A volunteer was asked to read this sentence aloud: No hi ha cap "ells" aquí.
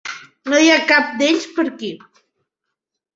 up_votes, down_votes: 0, 2